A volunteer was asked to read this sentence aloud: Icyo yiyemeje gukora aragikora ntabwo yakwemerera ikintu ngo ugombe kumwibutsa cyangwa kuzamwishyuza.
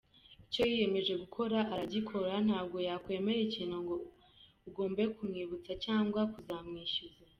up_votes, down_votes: 1, 2